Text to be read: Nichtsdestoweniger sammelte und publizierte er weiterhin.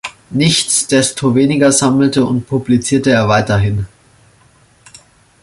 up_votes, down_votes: 2, 0